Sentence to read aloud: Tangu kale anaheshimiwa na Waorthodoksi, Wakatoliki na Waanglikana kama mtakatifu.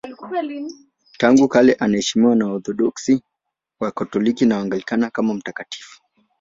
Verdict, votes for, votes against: rejected, 1, 2